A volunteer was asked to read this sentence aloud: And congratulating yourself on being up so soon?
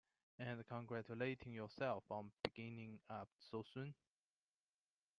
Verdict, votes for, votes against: accepted, 2, 1